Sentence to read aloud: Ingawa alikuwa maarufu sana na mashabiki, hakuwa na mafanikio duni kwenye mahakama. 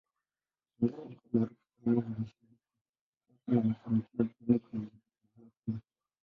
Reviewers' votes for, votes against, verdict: 0, 2, rejected